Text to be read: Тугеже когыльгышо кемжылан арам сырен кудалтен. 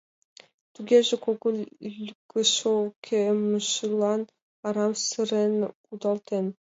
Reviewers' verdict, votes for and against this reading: rejected, 1, 2